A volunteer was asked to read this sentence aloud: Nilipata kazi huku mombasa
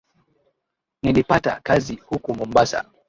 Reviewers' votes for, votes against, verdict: 2, 0, accepted